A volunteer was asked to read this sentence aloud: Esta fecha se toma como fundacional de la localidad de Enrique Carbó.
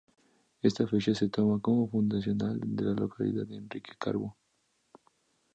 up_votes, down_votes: 0, 2